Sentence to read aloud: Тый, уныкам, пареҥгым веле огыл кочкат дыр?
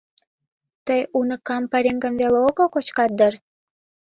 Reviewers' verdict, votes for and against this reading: accepted, 2, 0